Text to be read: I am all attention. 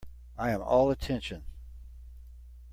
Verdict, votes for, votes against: accepted, 2, 0